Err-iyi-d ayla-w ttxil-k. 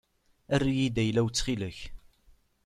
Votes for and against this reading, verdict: 2, 0, accepted